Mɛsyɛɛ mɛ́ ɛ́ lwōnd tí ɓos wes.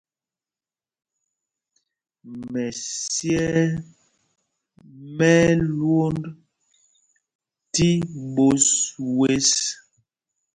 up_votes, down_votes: 2, 0